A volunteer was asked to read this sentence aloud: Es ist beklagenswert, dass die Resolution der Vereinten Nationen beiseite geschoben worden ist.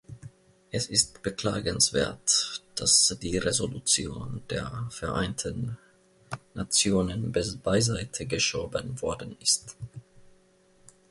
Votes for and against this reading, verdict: 1, 2, rejected